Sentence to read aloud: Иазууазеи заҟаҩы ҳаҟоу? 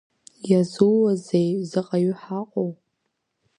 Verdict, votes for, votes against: rejected, 1, 2